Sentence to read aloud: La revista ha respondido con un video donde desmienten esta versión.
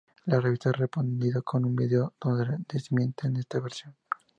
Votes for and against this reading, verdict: 2, 0, accepted